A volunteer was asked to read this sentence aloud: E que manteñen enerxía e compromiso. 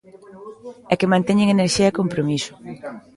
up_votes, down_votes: 2, 0